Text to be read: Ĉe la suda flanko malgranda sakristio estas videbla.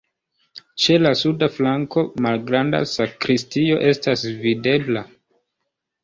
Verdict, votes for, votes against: accepted, 2, 0